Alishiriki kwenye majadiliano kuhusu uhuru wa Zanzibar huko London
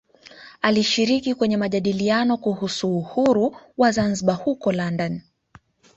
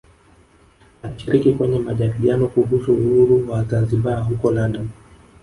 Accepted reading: first